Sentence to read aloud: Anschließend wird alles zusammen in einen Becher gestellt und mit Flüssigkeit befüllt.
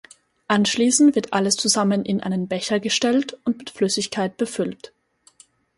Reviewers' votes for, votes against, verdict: 2, 0, accepted